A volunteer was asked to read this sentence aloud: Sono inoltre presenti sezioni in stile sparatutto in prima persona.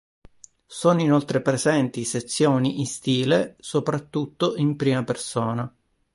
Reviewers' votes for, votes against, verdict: 0, 2, rejected